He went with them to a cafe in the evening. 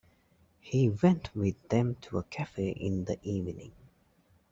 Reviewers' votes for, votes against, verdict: 1, 2, rejected